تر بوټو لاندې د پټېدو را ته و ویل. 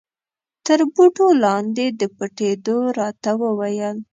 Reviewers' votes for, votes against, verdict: 2, 0, accepted